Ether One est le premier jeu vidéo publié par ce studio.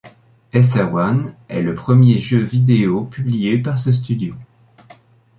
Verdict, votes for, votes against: accepted, 2, 1